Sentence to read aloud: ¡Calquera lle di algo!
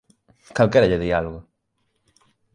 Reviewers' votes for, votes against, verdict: 2, 0, accepted